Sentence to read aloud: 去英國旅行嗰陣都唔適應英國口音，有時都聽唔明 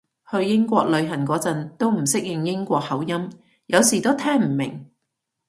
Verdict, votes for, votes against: accepted, 2, 0